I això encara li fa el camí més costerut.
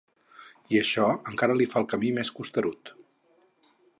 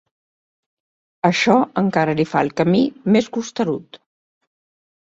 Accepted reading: first